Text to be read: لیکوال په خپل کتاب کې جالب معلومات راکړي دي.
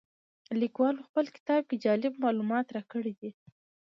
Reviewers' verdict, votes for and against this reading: accepted, 2, 0